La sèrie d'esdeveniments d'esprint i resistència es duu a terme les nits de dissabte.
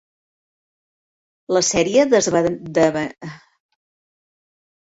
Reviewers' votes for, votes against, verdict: 1, 2, rejected